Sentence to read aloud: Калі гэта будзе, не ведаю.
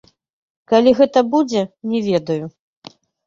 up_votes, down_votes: 0, 3